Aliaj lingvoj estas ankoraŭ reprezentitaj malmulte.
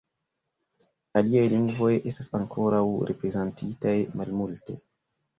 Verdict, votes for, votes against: rejected, 0, 2